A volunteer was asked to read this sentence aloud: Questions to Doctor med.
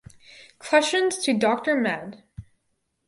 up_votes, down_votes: 4, 0